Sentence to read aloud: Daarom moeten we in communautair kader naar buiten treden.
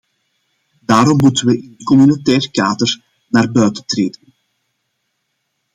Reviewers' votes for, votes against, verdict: 1, 2, rejected